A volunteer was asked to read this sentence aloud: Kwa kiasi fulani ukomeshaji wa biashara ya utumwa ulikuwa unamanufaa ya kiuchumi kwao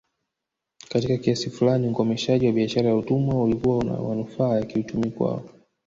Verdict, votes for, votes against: rejected, 1, 2